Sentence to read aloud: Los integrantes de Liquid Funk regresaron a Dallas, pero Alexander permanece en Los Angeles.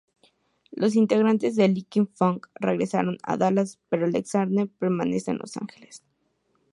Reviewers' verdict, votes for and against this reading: accepted, 2, 0